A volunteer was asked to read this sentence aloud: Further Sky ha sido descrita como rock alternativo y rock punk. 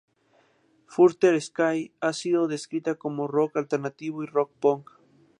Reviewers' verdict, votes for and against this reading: accepted, 2, 0